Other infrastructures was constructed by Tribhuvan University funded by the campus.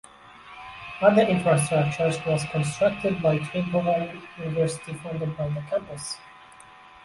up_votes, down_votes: 2, 0